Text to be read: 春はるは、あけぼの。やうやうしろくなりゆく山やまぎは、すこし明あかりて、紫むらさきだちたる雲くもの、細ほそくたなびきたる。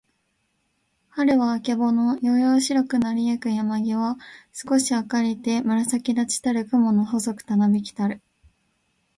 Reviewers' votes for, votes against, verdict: 2, 1, accepted